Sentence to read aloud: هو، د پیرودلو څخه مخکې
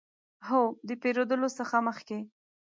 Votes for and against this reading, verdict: 2, 0, accepted